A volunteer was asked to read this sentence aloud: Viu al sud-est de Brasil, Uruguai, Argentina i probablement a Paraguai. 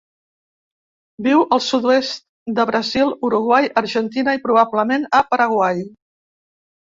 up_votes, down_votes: 1, 2